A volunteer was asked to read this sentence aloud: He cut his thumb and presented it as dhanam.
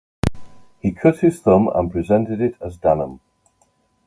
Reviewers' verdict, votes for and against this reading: accepted, 2, 0